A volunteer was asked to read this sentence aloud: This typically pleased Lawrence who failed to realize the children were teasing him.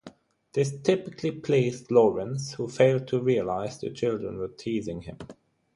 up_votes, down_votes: 6, 0